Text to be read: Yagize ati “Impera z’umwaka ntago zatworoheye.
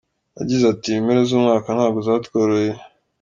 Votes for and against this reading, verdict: 3, 0, accepted